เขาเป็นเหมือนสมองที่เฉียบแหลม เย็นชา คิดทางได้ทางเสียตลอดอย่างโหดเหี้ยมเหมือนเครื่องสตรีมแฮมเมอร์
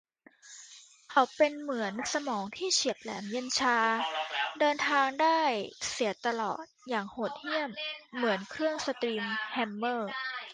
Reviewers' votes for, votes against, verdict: 0, 2, rejected